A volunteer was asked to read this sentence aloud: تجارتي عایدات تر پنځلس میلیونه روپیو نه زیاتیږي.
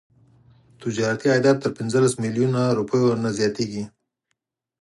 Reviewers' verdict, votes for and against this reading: accepted, 4, 0